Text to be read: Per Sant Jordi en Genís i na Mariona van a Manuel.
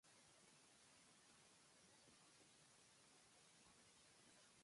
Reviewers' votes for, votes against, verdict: 0, 2, rejected